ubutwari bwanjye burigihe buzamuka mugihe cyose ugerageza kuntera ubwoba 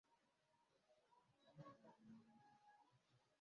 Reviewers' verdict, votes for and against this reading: rejected, 0, 2